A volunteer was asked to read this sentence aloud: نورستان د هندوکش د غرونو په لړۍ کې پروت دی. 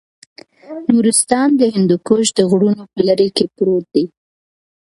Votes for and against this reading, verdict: 2, 0, accepted